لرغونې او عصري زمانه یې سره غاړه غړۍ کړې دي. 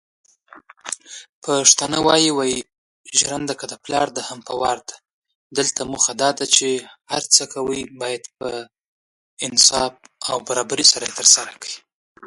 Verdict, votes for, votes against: accepted, 2, 0